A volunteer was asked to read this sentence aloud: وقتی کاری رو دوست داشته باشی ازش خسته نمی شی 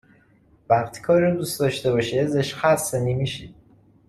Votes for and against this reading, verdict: 2, 0, accepted